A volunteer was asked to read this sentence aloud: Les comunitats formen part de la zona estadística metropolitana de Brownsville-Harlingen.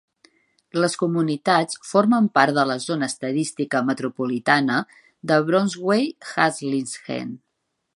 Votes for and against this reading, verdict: 1, 2, rejected